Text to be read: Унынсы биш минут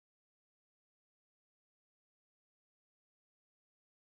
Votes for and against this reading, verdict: 1, 2, rejected